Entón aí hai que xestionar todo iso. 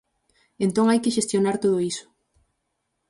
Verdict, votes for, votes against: rejected, 0, 4